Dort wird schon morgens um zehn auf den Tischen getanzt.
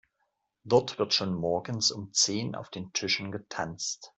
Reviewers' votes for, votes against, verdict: 2, 0, accepted